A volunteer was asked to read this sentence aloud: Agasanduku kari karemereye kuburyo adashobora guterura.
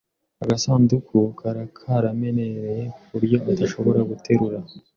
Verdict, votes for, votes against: rejected, 0, 2